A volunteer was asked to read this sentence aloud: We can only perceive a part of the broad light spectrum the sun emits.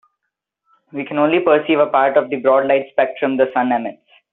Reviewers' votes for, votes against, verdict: 0, 3, rejected